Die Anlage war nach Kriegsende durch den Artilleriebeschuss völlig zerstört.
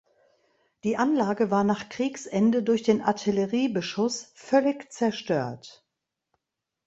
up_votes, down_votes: 2, 0